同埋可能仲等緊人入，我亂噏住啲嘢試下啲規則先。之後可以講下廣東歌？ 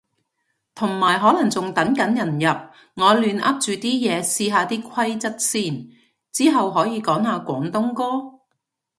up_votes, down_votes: 3, 0